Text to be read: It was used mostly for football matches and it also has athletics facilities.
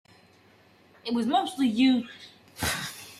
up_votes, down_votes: 0, 2